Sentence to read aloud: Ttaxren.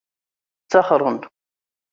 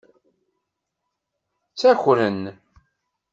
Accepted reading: first